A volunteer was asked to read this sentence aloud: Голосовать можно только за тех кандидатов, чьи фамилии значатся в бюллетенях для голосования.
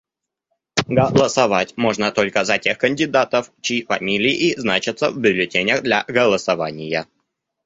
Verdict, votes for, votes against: rejected, 0, 2